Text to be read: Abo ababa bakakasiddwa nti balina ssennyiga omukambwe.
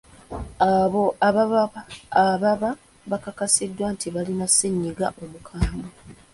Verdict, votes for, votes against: rejected, 0, 2